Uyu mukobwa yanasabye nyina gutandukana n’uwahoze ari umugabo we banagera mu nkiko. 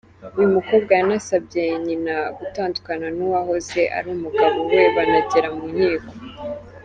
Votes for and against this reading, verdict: 3, 0, accepted